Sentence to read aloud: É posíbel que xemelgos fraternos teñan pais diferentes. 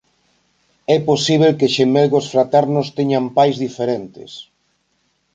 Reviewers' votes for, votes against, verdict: 2, 0, accepted